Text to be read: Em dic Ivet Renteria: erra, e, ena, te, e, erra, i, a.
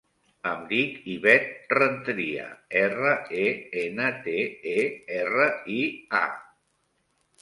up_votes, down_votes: 3, 0